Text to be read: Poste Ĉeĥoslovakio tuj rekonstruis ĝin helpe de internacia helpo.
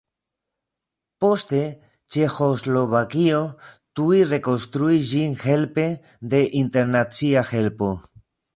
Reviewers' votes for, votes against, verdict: 2, 0, accepted